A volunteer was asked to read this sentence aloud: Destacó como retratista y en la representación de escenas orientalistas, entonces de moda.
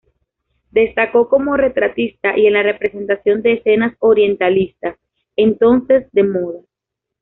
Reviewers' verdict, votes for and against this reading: accepted, 2, 1